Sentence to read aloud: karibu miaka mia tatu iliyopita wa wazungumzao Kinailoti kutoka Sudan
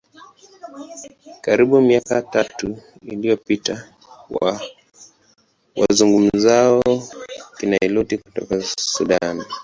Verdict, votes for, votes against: rejected, 1, 2